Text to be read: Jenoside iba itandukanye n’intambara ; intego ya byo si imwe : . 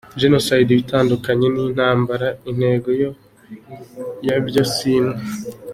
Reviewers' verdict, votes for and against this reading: rejected, 0, 2